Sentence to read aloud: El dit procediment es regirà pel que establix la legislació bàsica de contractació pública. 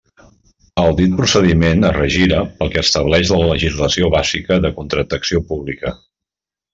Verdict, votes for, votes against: rejected, 0, 2